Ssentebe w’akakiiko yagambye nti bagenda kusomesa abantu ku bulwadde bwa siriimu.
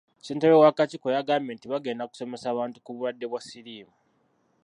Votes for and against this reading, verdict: 0, 2, rejected